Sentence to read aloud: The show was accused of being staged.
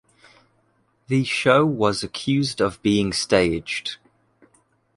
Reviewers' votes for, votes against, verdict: 2, 0, accepted